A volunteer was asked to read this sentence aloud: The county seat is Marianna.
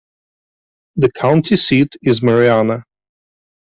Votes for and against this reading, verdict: 2, 0, accepted